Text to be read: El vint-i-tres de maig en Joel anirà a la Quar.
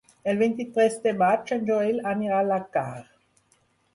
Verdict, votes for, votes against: rejected, 0, 2